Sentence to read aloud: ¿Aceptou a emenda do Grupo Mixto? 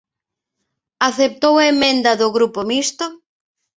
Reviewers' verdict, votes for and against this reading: accepted, 2, 0